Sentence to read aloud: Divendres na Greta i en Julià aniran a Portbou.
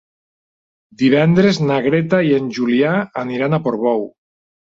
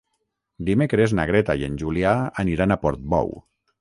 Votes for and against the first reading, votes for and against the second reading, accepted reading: 3, 1, 0, 6, first